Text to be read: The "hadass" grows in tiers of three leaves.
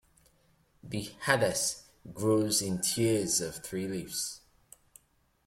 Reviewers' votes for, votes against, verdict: 2, 0, accepted